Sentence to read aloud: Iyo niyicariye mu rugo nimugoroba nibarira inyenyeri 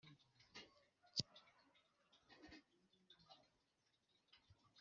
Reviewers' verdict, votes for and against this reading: rejected, 3, 4